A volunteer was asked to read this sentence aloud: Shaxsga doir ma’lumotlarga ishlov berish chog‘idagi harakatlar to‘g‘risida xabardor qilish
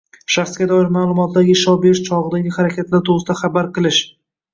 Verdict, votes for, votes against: accepted, 2, 0